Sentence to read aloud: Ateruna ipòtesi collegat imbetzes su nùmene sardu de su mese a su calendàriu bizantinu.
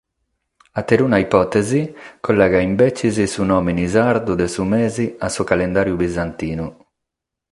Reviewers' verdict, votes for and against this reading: rejected, 3, 3